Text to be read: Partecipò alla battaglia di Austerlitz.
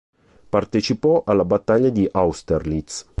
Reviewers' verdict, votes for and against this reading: accepted, 3, 0